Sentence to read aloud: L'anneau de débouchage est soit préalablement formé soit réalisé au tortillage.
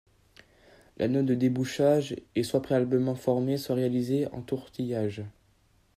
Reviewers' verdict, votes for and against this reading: rejected, 0, 2